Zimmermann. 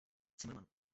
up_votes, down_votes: 1, 2